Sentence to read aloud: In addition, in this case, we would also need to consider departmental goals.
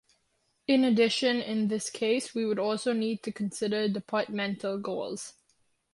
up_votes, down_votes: 2, 0